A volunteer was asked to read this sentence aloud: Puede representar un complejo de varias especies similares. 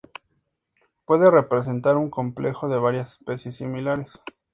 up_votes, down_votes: 2, 0